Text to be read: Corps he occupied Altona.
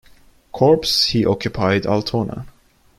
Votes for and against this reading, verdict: 2, 0, accepted